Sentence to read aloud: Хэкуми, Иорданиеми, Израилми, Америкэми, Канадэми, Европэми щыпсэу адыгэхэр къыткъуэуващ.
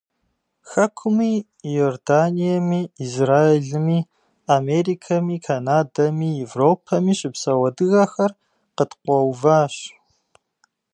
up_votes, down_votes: 2, 0